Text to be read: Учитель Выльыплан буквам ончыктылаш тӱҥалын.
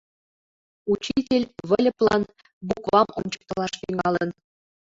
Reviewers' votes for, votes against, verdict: 2, 1, accepted